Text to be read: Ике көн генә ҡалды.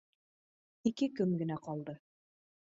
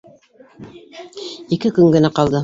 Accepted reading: first